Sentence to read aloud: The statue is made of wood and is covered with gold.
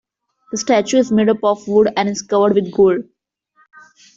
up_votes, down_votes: 1, 2